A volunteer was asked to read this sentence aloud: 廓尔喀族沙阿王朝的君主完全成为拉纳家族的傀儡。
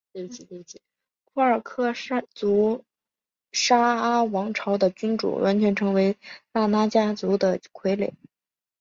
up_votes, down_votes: 5, 2